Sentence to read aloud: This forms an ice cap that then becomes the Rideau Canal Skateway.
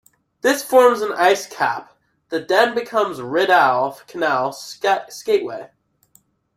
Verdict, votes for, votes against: rejected, 0, 2